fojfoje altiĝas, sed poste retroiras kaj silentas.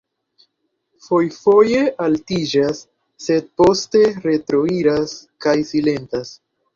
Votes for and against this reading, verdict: 2, 1, accepted